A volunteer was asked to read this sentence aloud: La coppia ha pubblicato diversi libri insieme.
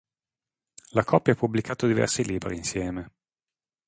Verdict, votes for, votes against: accepted, 3, 0